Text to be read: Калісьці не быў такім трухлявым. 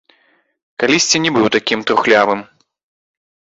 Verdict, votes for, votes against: accepted, 2, 0